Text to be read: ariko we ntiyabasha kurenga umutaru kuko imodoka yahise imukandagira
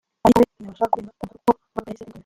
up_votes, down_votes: 0, 2